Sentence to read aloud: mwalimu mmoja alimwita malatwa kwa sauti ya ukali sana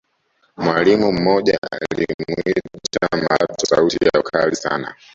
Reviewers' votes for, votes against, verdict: 1, 2, rejected